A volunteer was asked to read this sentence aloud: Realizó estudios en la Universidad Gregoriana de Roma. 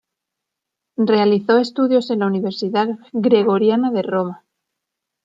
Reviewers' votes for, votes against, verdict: 2, 0, accepted